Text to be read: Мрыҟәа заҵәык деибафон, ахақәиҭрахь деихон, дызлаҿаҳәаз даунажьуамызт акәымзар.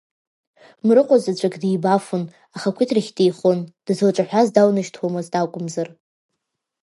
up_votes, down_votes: 2, 0